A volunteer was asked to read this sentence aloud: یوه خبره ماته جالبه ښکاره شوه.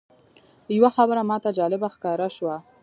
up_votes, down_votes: 0, 2